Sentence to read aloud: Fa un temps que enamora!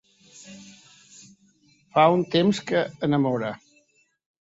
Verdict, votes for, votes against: accepted, 3, 0